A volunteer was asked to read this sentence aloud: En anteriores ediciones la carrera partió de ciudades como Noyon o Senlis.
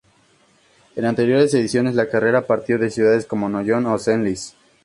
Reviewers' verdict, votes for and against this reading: accepted, 4, 2